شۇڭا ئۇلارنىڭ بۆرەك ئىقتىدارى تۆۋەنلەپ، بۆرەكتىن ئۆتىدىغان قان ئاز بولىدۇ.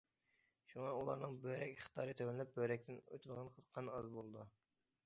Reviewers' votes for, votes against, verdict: 2, 0, accepted